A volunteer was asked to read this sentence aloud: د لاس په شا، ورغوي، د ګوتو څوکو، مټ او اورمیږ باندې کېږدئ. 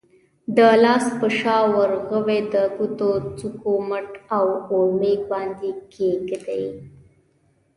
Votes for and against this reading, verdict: 2, 0, accepted